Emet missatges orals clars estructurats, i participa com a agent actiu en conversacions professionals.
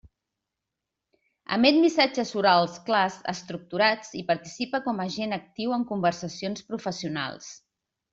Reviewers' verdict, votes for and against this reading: accepted, 2, 0